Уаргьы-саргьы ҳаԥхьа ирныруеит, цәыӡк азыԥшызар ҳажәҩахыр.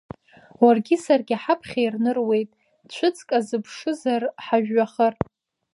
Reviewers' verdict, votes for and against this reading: rejected, 1, 2